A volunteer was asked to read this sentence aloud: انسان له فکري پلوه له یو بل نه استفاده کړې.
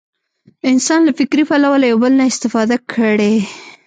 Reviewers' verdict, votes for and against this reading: rejected, 1, 2